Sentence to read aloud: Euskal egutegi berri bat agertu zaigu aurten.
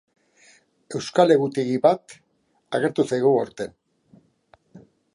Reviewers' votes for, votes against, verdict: 0, 2, rejected